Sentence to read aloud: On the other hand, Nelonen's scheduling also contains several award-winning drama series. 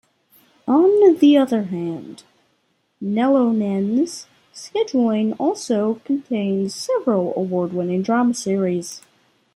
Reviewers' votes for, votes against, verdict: 1, 2, rejected